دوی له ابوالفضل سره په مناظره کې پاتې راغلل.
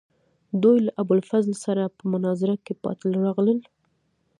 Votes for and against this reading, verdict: 1, 2, rejected